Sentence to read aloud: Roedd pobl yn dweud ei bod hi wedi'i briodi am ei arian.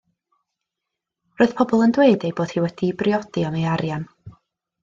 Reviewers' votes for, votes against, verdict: 2, 0, accepted